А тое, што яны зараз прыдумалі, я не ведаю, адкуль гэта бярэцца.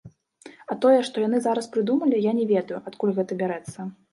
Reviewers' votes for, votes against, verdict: 2, 0, accepted